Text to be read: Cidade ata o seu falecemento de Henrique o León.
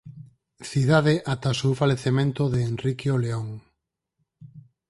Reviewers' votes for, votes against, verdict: 4, 0, accepted